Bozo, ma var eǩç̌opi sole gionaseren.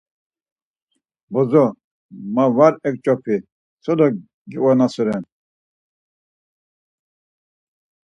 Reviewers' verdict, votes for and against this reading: accepted, 4, 0